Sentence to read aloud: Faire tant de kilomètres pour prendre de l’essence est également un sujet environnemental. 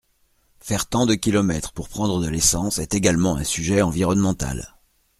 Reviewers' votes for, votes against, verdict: 2, 0, accepted